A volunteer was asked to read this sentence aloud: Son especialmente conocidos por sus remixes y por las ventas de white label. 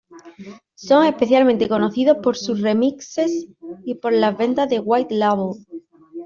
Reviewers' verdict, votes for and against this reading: accepted, 2, 0